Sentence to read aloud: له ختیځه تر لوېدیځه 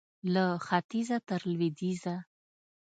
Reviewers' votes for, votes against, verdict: 2, 0, accepted